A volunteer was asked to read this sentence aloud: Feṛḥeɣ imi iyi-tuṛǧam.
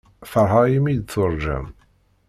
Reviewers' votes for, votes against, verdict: 2, 1, accepted